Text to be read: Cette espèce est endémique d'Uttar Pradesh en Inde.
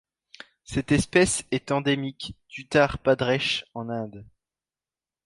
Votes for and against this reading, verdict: 1, 2, rejected